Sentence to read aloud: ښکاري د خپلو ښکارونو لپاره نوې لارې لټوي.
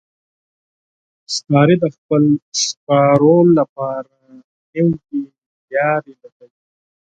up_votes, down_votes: 0, 4